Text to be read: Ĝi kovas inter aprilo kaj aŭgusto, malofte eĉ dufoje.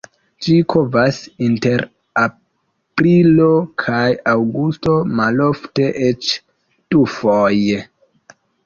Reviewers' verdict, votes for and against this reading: rejected, 0, 2